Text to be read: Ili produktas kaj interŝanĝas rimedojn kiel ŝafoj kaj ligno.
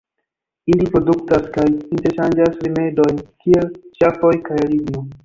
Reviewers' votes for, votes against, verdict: 0, 2, rejected